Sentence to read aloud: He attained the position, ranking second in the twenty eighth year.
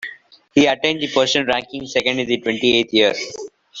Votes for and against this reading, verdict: 0, 2, rejected